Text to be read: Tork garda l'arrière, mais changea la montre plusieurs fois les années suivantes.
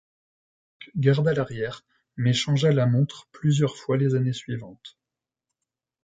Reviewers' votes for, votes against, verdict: 0, 2, rejected